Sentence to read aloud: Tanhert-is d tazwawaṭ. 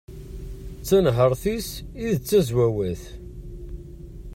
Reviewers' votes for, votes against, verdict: 0, 2, rejected